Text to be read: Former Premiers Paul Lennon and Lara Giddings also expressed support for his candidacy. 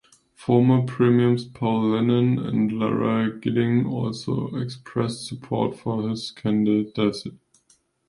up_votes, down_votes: 0, 2